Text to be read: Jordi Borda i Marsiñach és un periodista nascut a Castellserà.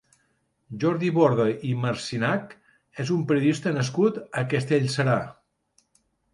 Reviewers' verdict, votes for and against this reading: rejected, 0, 2